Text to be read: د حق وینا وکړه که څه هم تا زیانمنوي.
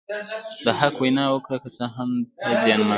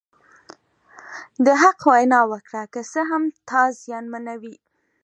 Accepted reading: second